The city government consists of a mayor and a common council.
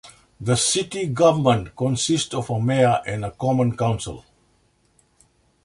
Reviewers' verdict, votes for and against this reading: accepted, 2, 0